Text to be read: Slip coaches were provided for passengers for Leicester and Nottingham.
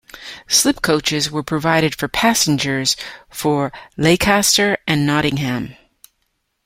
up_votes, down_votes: 1, 2